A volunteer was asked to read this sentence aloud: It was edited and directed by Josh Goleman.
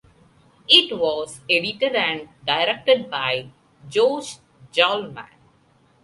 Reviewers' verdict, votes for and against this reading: rejected, 1, 2